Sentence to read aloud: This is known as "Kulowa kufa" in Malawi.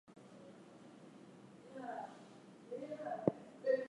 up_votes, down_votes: 0, 4